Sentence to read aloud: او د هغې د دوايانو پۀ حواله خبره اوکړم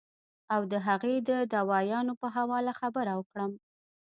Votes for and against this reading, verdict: 1, 2, rejected